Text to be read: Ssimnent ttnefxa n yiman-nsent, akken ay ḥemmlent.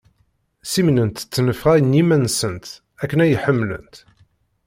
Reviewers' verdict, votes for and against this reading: accepted, 2, 0